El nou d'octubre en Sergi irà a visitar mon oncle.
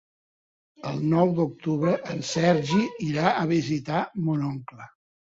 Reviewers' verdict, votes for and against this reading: rejected, 0, 2